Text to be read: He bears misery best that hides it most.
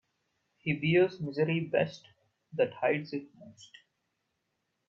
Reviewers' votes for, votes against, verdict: 1, 2, rejected